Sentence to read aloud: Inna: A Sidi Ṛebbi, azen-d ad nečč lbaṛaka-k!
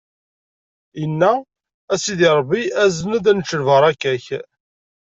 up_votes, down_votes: 2, 0